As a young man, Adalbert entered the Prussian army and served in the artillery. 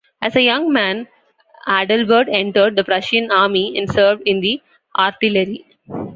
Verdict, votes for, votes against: accepted, 2, 1